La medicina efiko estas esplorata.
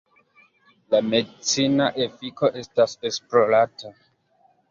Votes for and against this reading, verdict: 2, 0, accepted